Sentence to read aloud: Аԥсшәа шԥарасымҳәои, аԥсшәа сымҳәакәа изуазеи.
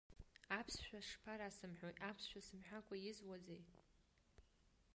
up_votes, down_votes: 1, 2